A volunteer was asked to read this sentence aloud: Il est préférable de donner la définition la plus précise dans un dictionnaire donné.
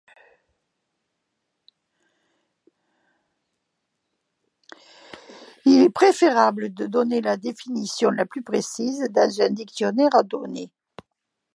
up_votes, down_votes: 2, 0